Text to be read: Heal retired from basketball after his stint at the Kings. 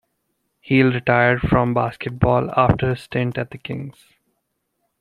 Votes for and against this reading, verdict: 0, 2, rejected